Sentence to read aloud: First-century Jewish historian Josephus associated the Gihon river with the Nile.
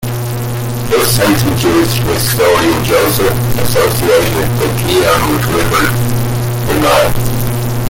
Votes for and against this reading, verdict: 0, 2, rejected